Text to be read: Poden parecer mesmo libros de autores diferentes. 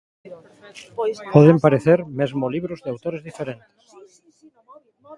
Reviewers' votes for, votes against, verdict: 0, 2, rejected